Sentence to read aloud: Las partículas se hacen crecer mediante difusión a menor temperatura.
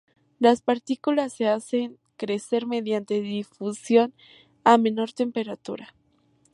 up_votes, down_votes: 2, 0